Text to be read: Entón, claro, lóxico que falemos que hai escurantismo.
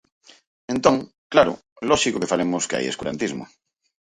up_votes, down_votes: 4, 0